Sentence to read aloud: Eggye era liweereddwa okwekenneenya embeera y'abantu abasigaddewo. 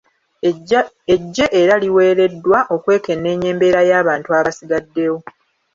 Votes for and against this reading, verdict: 1, 2, rejected